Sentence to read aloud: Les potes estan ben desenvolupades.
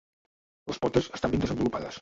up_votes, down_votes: 0, 2